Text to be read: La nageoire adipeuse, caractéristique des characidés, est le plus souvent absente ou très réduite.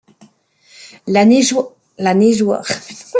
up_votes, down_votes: 0, 2